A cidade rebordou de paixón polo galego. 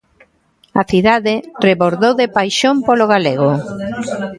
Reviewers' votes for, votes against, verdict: 0, 2, rejected